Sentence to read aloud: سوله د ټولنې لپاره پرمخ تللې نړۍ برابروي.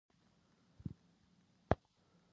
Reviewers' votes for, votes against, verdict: 0, 3, rejected